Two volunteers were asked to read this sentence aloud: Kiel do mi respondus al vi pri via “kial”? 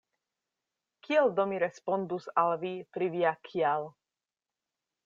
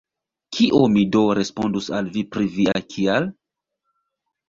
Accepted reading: first